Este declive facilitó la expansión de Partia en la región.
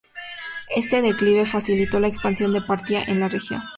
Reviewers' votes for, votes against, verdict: 2, 0, accepted